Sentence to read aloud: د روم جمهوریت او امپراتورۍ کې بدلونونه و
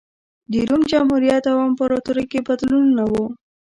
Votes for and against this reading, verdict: 2, 0, accepted